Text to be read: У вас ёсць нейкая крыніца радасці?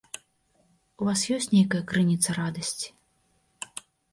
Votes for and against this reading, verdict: 2, 0, accepted